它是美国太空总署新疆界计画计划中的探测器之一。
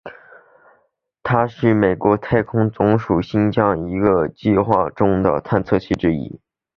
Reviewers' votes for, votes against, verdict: 7, 2, accepted